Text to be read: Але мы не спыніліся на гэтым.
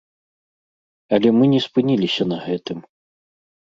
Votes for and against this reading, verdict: 2, 0, accepted